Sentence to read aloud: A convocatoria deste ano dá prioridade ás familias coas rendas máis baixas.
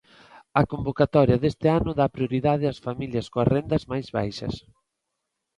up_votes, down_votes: 2, 0